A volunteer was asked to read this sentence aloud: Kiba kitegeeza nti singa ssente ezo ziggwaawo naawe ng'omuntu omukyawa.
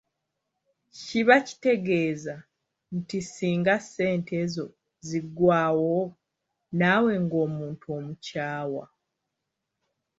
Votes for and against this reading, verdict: 0, 2, rejected